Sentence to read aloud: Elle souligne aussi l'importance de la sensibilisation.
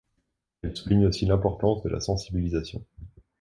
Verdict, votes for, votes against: accepted, 2, 0